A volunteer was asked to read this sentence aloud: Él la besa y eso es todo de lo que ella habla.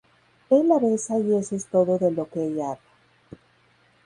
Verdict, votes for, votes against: rejected, 0, 2